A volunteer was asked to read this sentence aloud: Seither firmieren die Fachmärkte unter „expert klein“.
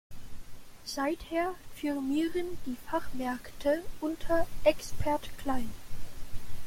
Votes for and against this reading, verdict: 1, 2, rejected